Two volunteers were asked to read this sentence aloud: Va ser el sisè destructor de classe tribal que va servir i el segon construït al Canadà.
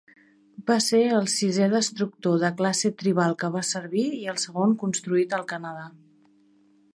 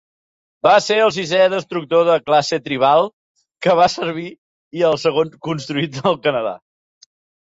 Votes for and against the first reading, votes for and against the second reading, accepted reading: 4, 0, 1, 3, first